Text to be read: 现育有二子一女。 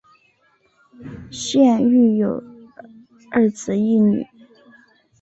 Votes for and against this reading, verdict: 2, 0, accepted